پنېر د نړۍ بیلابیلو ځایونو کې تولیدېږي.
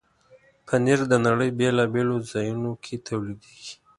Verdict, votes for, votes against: accepted, 3, 0